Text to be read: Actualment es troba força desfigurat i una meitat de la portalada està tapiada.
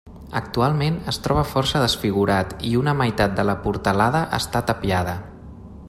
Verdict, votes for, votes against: accepted, 3, 0